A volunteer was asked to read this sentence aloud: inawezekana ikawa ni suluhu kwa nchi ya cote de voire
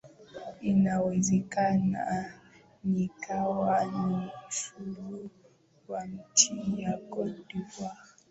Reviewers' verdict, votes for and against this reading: accepted, 12, 3